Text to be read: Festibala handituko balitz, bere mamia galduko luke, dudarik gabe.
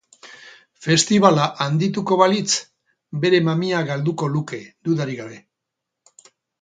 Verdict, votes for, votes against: accepted, 4, 0